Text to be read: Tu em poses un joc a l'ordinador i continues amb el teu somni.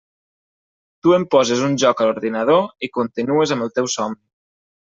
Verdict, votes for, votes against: rejected, 1, 2